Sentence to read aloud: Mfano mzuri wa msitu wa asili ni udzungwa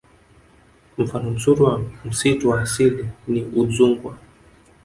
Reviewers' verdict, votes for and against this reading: accepted, 2, 0